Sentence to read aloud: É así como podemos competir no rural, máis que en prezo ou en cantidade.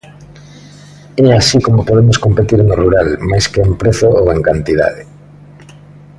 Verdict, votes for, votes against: accepted, 2, 0